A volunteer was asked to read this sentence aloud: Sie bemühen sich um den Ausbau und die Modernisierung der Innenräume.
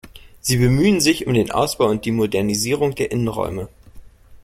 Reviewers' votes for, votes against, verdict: 2, 0, accepted